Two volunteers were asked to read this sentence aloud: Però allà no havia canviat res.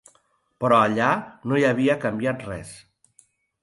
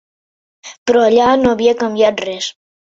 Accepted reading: second